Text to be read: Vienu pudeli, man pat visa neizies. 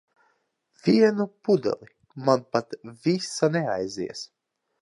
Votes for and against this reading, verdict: 0, 2, rejected